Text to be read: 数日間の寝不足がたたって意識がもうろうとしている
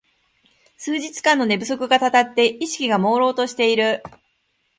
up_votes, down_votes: 3, 0